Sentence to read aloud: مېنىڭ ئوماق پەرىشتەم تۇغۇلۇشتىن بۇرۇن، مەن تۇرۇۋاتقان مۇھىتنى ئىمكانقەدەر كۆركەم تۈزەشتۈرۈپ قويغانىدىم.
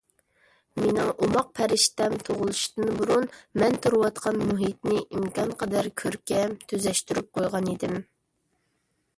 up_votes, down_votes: 0, 2